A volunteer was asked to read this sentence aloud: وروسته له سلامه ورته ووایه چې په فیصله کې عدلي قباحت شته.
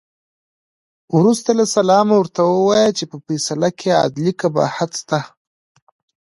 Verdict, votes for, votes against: accepted, 2, 0